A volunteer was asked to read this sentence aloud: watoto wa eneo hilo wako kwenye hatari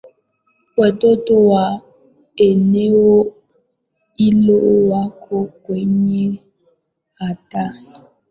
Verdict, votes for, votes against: rejected, 0, 2